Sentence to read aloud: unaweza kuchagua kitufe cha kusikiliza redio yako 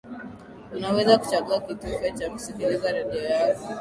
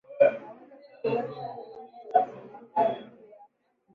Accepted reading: first